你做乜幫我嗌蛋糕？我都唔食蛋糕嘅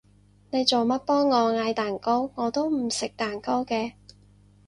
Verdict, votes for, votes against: accepted, 4, 0